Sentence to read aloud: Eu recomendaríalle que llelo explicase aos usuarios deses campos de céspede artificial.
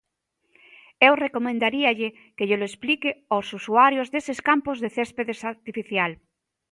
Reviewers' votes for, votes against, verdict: 0, 2, rejected